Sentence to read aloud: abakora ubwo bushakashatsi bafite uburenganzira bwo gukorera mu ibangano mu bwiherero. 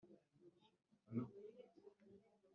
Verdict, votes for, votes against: rejected, 1, 2